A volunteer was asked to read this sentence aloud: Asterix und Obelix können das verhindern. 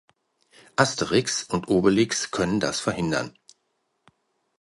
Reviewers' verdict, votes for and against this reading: accepted, 2, 0